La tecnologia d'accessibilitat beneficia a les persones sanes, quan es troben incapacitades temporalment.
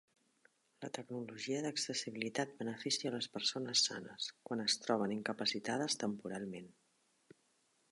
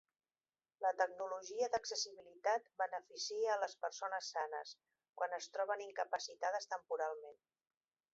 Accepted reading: first